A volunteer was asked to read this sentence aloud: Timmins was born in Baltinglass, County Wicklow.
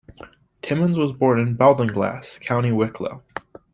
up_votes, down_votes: 2, 0